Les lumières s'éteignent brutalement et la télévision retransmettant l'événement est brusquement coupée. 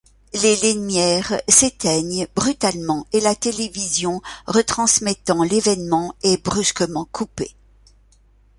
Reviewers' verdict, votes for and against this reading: rejected, 0, 2